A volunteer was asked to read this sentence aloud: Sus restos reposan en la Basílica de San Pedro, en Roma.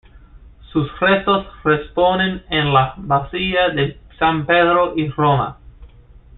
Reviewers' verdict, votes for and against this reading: rejected, 1, 2